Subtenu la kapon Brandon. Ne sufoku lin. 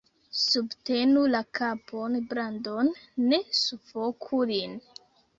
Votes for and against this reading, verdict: 0, 2, rejected